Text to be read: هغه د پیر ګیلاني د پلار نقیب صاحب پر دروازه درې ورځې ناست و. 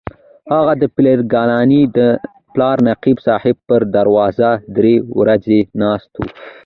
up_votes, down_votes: 2, 1